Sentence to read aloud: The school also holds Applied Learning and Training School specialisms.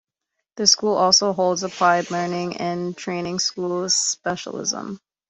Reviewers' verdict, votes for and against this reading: rejected, 1, 2